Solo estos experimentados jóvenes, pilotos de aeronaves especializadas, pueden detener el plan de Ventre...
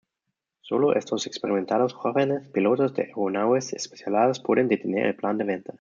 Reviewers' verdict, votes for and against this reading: rejected, 1, 2